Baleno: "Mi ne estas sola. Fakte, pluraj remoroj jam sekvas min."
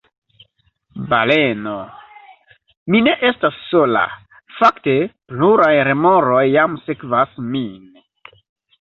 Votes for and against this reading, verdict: 0, 2, rejected